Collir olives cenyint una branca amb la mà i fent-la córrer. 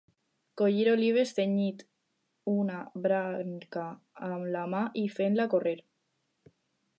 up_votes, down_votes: 0, 4